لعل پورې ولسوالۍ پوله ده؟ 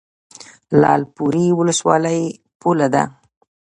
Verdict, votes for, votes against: rejected, 1, 2